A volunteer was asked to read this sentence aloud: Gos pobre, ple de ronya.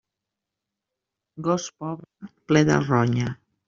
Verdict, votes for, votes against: rejected, 1, 2